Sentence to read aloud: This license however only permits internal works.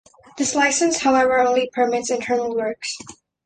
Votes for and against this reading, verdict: 2, 0, accepted